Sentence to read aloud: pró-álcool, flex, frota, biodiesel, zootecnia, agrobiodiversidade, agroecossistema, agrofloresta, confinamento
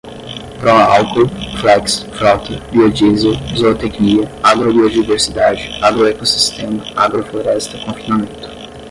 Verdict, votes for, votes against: rejected, 0, 5